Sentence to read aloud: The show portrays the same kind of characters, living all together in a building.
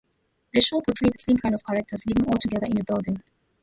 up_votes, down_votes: 0, 2